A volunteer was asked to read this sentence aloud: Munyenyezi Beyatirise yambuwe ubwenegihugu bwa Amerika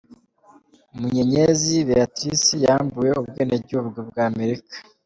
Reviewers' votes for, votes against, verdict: 3, 0, accepted